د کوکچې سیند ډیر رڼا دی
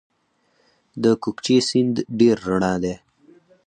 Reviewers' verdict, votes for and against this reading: accepted, 4, 2